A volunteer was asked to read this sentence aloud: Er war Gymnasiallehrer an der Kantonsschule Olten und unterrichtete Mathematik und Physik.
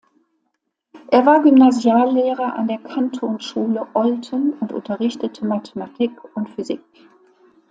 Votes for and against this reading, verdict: 2, 0, accepted